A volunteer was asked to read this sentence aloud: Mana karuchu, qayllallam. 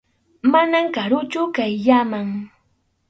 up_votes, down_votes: 2, 2